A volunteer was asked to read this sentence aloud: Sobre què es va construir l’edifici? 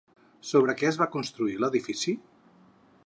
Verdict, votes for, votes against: accepted, 6, 0